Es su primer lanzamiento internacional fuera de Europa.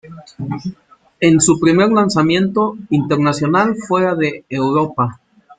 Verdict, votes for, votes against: accepted, 2, 1